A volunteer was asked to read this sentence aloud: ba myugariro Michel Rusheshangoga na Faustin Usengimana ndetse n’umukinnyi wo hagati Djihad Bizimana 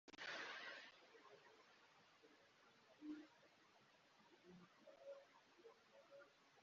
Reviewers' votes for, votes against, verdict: 0, 3, rejected